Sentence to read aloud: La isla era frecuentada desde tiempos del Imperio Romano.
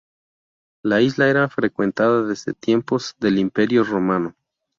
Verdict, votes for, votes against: accepted, 2, 0